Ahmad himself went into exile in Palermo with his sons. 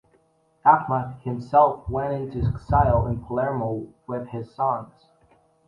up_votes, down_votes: 2, 0